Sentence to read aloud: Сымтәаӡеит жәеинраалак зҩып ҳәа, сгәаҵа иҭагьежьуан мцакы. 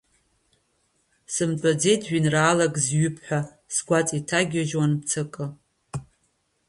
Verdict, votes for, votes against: accepted, 2, 0